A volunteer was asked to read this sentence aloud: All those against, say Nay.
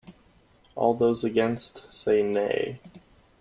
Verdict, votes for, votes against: accepted, 2, 0